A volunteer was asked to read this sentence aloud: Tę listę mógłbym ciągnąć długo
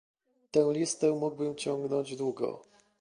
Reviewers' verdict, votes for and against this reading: accepted, 2, 0